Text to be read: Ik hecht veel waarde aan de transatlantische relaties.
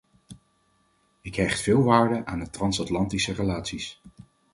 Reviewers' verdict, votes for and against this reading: accepted, 4, 0